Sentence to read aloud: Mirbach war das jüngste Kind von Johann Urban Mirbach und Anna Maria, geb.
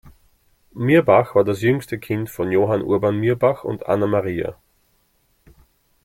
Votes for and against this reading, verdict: 1, 2, rejected